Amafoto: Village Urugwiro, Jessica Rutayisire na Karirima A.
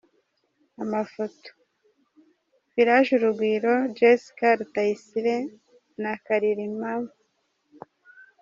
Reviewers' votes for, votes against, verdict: 1, 2, rejected